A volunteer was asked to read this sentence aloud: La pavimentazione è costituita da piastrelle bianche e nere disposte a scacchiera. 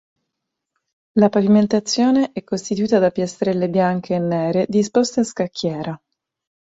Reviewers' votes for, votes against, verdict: 2, 0, accepted